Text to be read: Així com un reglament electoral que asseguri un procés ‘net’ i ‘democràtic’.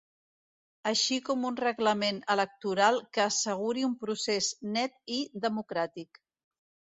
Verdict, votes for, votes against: accepted, 2, 0